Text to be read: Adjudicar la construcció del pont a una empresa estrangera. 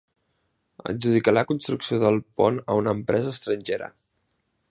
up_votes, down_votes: 2, 0